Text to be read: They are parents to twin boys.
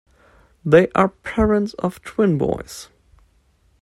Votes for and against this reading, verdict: 0, 2, rejected